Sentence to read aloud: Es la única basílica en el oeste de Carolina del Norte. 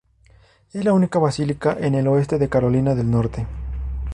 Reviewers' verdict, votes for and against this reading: accepted, 2, 0